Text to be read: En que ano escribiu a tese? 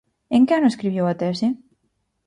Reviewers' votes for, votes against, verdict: 4, 0, accepted